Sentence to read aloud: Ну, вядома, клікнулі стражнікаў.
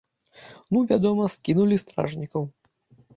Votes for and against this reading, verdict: 1, 2, rejected